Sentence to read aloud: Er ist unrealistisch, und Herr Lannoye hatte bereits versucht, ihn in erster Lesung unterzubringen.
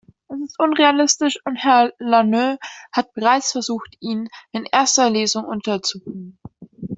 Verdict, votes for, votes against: rejected, 0, 2